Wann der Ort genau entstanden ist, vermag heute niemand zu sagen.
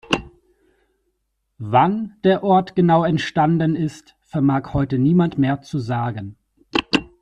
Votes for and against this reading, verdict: 1, 2, rejected